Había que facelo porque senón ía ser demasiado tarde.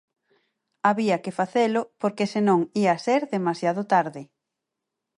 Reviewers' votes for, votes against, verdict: 4, 2, accepted